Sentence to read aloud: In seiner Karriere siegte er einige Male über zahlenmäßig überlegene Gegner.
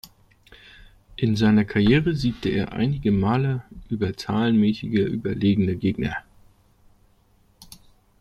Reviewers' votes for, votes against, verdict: 0, 2, rejected